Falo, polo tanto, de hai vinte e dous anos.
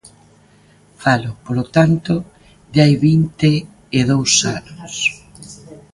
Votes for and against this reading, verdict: 1, 2, rejected